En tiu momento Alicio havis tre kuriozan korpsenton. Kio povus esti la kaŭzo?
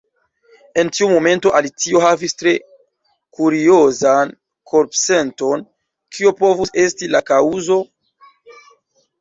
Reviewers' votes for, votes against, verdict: 2, 0, accepted